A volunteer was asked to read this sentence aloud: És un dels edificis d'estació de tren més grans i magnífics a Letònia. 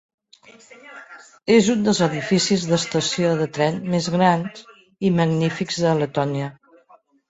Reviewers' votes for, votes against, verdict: 0, 4, rejected